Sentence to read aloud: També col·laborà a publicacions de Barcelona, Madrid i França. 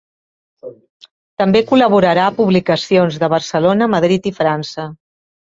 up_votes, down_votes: 0, 2